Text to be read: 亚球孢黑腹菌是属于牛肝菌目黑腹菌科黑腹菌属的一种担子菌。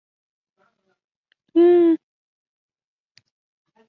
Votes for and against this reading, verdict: 0, 2, rejected